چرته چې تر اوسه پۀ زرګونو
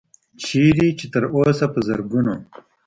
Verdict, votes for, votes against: rejected, 1, 2